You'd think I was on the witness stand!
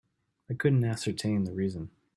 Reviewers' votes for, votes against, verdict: 0, 2, rejected